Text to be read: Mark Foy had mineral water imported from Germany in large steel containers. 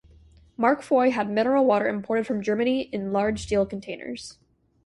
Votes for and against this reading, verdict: 2, 0, accepted